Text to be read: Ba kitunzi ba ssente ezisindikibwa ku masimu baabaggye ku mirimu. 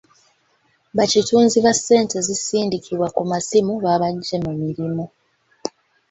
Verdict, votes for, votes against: rejected, 1, 2